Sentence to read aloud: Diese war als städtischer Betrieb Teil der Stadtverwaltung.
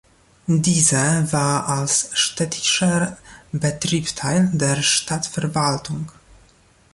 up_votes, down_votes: 1, 2